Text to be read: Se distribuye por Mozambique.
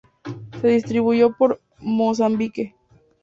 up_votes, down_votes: 0, 2